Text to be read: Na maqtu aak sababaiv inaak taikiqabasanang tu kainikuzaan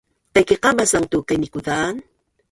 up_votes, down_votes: 0, 3